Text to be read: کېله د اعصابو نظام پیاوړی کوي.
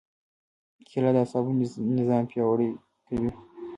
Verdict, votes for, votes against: rejected, 1, 2